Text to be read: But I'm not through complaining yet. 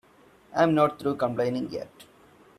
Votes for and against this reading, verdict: 2, 4, rejected